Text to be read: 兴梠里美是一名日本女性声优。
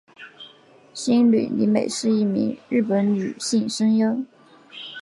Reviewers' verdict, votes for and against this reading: accepted, 8, 0